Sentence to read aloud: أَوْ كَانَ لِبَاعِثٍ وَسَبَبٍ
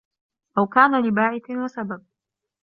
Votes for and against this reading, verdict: 2, 0, accepted